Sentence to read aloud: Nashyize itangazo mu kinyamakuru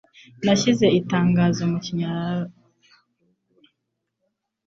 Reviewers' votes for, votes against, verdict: 0, 2, rejected